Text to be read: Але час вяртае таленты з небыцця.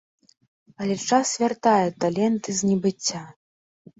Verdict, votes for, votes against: rejected, 1, 2